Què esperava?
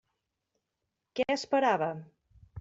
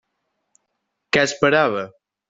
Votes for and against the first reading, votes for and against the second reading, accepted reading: 1, 2, 3, 0, second